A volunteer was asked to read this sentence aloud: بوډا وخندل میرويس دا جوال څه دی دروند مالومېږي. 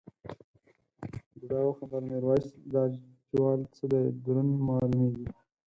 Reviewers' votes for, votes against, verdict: 4, 0, accepted